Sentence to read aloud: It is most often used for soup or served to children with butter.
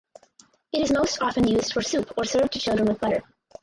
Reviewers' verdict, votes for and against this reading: rejected, 0, 2